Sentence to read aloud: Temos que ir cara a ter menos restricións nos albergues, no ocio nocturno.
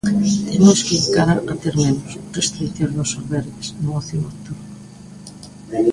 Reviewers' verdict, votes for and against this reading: rejected, 1, 2